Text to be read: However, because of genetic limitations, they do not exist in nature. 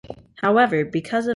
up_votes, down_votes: 0, 2